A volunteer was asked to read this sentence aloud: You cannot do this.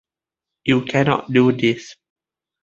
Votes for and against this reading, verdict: 2, 0, accepted